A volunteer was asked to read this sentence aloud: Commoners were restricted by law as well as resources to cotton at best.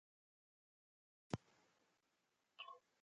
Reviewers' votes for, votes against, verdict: 0, 2, rejected